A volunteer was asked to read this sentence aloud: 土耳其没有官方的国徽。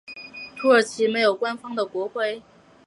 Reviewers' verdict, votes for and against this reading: accepted, 2, 0